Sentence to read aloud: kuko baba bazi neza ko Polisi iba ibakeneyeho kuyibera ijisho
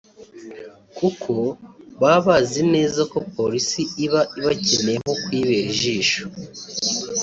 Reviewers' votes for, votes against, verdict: 1, 2, rejected